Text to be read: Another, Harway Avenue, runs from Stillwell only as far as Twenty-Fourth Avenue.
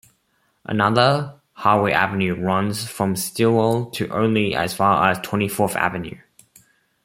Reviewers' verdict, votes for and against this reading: rejected, 0, 2